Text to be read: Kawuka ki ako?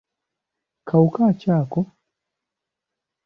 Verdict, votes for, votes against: accepted, 2, 0